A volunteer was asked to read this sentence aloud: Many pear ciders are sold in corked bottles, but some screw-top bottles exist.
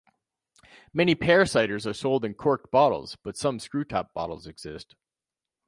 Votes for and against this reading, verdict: 2, 0, accepted